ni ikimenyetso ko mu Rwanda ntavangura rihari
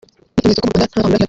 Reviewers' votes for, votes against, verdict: 0, 3, rejected